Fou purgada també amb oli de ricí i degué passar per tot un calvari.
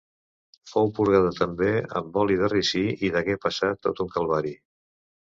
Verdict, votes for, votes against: rejected, 1, 2